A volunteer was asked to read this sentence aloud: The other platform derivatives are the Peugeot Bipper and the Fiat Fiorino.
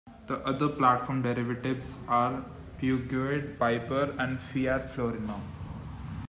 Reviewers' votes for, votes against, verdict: 1, 2, rejected